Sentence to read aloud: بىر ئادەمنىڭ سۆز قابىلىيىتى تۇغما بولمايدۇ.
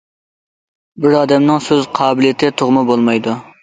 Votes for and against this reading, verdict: 2, 0, accepted